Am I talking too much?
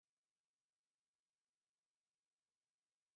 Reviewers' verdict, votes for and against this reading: rejected, 0, 3